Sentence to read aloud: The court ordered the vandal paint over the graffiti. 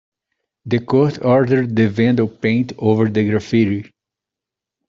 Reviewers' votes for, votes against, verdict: 2, 1, accepted